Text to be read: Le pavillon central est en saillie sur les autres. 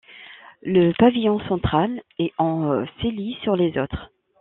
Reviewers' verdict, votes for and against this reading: rejected, 1, 2